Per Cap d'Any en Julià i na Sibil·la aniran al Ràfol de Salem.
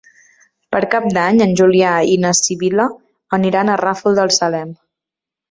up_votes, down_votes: 0, 2